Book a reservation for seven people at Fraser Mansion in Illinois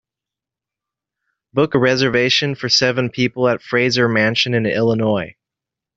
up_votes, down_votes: 2, 0